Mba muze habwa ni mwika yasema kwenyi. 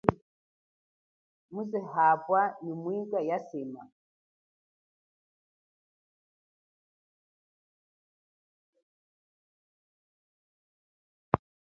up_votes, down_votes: 2, 3